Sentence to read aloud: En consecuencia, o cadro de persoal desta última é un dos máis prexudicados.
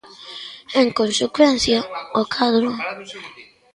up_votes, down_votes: 0, 2